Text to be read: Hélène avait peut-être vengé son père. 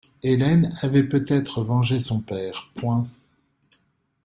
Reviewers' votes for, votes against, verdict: 2, 1, accepted